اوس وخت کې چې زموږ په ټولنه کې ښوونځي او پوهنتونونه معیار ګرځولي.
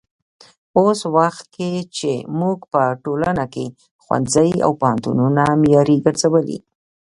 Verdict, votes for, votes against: rejected, 0, 2